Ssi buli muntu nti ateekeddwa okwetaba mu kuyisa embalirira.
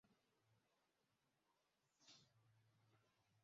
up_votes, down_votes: 0, 2